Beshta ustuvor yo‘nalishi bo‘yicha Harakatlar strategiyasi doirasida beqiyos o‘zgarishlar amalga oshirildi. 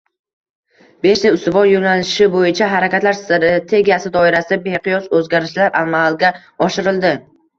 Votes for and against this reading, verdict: 1, 2, rejected